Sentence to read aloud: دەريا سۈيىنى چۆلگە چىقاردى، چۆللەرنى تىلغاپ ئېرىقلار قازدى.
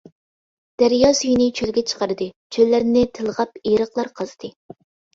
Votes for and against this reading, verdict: 2, 0, accepted